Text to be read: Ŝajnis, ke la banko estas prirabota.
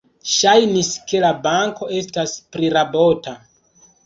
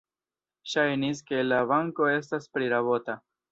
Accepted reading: first